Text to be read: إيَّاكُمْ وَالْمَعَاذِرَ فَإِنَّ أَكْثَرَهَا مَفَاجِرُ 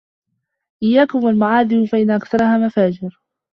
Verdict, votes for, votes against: rejected, 0, 2